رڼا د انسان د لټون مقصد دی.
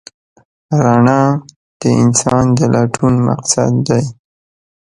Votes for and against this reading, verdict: 2, 0, accepted